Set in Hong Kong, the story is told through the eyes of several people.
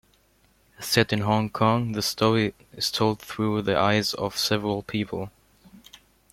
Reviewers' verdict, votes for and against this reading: accepted, 2, 0